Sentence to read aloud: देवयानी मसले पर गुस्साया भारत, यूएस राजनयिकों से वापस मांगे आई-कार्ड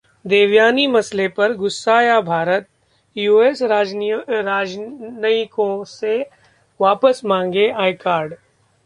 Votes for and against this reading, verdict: 1, 2, rejected